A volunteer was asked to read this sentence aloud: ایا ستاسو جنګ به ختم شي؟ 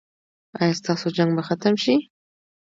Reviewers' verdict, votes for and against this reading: accepted, 2, 0